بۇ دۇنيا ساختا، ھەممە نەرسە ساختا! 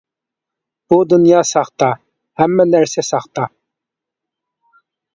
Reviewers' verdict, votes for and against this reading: accepted, 2, 0